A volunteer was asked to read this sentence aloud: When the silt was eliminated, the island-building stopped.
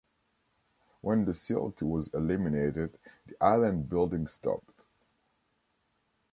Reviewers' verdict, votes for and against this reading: accepted, 2, 1